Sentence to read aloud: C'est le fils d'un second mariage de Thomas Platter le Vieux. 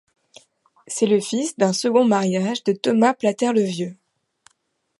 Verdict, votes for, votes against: accepted, 2, 0